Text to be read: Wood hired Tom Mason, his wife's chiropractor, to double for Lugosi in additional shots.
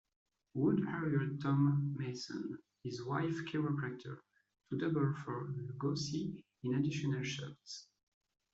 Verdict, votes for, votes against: rejected, 1, 2